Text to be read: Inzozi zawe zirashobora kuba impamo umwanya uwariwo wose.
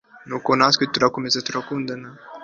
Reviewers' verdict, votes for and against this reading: accepted, 2, 0